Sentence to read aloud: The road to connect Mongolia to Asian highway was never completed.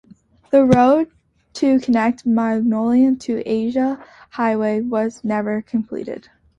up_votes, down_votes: 0, 2